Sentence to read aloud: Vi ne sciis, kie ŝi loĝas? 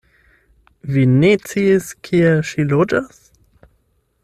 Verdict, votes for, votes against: rejected, 0, 8